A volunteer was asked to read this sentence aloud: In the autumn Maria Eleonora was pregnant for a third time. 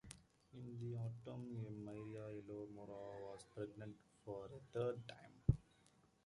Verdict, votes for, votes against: rejected, 0, 2